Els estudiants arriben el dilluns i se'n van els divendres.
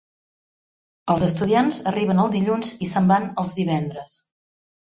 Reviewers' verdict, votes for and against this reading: accepted, 2, 0